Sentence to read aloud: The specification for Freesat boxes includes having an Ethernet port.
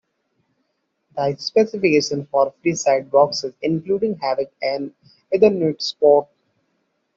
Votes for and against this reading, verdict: 2, 1, accepted